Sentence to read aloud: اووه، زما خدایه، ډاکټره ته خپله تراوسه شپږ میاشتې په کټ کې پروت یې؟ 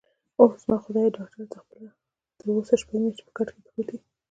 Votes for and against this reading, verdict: 0, 2, rejected